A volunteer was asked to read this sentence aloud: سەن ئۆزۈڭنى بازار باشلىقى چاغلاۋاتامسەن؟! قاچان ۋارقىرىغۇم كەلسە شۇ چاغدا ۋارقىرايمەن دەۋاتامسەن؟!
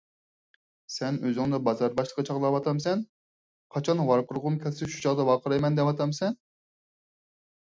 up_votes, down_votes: 4, 0